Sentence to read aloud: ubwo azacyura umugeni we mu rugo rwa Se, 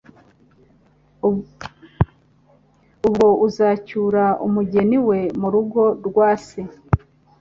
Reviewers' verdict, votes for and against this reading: rejected, 0, 2